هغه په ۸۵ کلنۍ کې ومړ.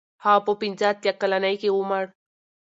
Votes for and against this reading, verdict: 0, 2, rejected